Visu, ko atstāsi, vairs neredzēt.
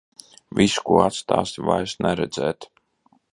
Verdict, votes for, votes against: accepted, 2, 0